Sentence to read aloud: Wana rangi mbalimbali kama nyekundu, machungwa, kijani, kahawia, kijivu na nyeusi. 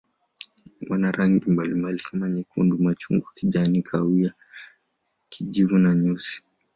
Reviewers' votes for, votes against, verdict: 2, 0, accepted